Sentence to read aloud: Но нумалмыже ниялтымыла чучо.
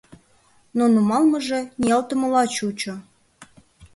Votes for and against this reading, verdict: 2, 0, accepted